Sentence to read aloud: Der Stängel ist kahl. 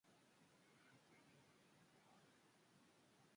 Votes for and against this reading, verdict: 0, 2, rejected